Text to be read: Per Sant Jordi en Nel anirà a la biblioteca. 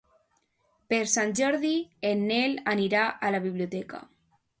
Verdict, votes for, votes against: accepted, 2, 0